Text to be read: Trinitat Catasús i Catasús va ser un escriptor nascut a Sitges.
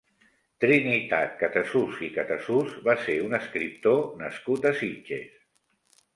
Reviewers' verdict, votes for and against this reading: accepted, 2, 0